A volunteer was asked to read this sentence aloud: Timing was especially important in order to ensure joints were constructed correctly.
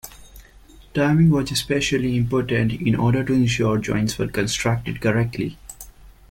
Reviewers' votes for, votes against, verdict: 2, 1, accepted